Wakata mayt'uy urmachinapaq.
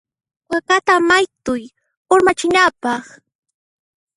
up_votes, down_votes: 1, 2